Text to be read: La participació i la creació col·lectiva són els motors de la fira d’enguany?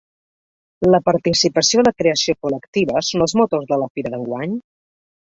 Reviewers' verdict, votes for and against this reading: rejected, 0, 2